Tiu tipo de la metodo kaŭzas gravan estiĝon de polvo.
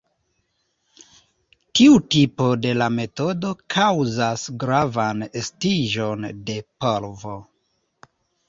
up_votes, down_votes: 1, 2